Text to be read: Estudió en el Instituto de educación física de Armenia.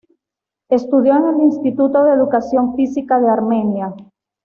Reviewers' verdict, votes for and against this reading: accepted, 2, 0